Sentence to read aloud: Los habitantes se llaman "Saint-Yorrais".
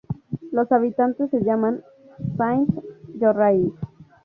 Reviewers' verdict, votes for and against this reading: accepted, 2, 0